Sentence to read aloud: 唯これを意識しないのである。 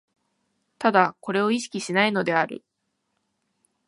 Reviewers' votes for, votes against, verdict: 2, 0, accepted